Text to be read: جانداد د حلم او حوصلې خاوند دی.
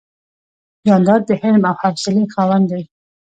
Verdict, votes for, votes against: rejected, 1, 2